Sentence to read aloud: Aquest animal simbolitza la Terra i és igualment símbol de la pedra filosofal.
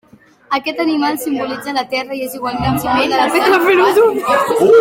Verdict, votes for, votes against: rejected, 0, 2